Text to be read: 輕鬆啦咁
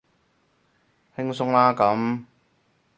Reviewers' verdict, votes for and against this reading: rejected, 2, 2